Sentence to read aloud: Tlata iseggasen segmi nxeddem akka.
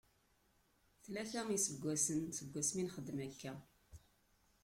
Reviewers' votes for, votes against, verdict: 1, 2, rejected